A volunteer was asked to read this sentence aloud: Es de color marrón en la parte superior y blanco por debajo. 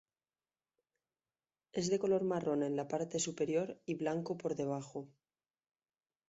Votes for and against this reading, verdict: 0, 2, rejected